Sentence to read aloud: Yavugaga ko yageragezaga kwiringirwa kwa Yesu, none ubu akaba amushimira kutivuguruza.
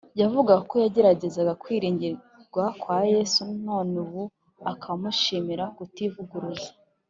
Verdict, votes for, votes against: accepted, 2, 1